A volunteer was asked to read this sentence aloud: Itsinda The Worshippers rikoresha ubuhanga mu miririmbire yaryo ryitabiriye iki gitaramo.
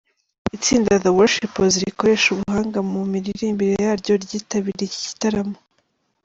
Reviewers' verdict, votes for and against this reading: accepted, 2, 0